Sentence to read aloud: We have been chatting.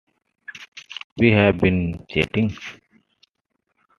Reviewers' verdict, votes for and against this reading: accepted, 2, 0